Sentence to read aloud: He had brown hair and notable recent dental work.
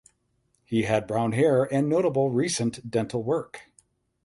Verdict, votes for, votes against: accepted, 8, 0